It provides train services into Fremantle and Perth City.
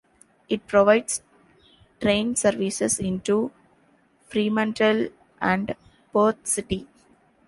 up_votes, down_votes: 2, 0